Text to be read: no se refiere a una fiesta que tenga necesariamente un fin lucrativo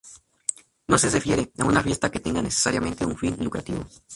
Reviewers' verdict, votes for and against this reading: rejected, 0, 2